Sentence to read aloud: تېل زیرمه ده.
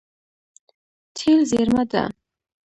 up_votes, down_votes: 0, 2